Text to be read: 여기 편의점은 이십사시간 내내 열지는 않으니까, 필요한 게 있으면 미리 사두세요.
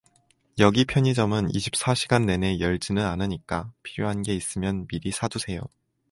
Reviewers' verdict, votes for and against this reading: accepted, 4, 0